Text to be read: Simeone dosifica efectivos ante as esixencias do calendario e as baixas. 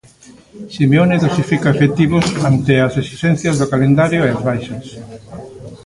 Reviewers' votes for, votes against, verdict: 0, 2, rejected